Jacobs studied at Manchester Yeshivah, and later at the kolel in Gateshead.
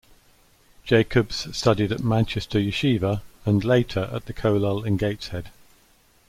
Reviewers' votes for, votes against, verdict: 2, 0, accepted